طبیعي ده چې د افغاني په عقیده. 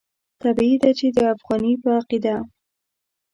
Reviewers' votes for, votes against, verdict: 1, 2, rejected